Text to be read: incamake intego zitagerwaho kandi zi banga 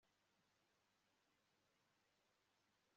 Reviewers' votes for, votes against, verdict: 1, 3, rejected